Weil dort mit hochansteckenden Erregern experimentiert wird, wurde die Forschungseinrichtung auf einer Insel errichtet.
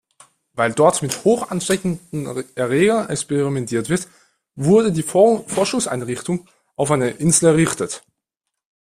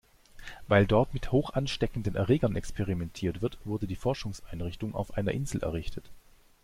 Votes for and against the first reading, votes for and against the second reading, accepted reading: 1, 2, 2, 0, second